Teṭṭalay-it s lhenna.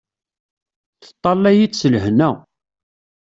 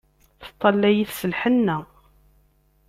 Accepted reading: first